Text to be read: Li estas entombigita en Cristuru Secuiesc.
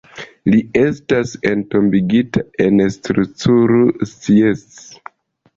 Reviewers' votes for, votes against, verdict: 1, 2, rejected